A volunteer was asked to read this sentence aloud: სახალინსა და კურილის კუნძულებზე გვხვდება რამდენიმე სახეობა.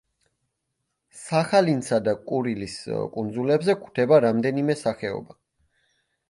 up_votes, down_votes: 2, 0